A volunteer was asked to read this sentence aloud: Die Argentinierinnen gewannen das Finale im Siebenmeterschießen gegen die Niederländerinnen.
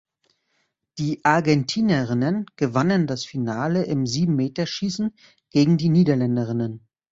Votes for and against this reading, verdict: 0, 2, rejected